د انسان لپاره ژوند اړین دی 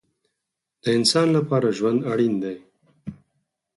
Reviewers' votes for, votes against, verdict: 2, 4, rejected